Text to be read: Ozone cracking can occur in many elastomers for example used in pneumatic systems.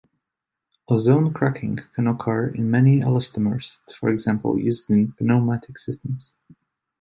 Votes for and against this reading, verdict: 2, 1, accepted